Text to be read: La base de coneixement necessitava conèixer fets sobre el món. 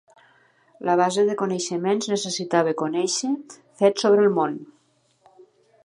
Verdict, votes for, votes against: rejected, 0, 2